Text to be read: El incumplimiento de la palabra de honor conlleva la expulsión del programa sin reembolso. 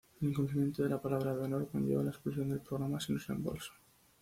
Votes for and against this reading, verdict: 2, 0, accepted